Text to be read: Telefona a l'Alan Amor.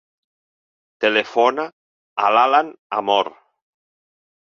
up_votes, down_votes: 6, 2